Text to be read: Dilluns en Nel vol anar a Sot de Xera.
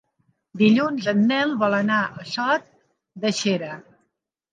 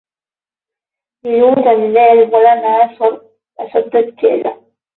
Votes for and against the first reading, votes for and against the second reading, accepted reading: 4, 0, 0, 12, first